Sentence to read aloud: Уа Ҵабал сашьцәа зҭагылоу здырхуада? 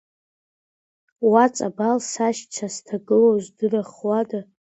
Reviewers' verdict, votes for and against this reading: accepted, 2, 1